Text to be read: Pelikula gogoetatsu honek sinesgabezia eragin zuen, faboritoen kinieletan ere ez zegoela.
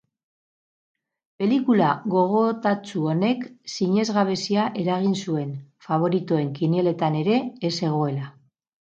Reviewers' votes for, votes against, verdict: 2, 2, rejected